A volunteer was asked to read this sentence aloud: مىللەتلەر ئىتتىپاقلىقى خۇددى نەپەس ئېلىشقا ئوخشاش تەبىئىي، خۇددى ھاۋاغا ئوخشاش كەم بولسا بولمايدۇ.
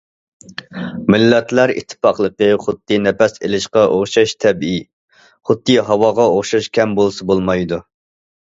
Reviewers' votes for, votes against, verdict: 2, 0, accepted